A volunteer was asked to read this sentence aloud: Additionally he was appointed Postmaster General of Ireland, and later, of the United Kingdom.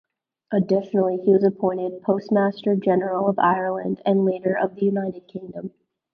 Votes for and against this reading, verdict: 2, 0, accepted